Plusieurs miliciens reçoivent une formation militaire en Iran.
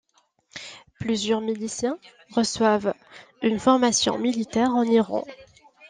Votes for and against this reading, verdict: 2, 0, accepted